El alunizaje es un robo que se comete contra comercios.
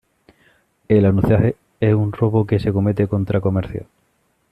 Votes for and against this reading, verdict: 1, 2, rejected